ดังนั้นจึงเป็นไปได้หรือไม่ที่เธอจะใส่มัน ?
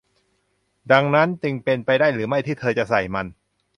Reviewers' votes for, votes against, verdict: 2, 0, accepted